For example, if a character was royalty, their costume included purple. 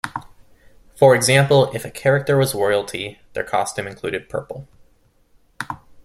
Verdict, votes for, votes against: accepted, 2, 0